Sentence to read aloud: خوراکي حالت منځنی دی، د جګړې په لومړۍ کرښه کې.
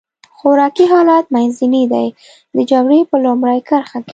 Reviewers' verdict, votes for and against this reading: accepted, 2, 0